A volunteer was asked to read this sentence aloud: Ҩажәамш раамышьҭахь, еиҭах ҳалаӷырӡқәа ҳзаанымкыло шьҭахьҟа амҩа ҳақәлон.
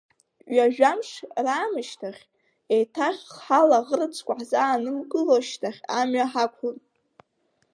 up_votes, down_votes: 2, 0